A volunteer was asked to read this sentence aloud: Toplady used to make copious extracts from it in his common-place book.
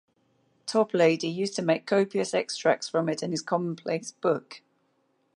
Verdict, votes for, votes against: accepted, 2, 0